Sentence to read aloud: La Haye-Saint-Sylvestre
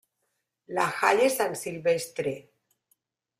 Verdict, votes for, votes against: rejected, 0, 2